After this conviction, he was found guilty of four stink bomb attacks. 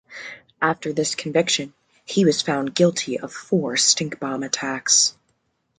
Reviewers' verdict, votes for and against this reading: accepted, 2, 0